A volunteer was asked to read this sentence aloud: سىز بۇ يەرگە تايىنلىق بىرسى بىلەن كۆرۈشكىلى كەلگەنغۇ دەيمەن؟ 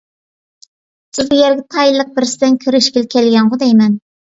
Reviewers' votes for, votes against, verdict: 0, 2, rejected